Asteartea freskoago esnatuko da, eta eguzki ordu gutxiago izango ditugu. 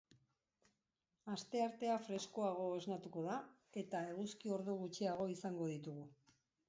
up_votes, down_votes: 2, 1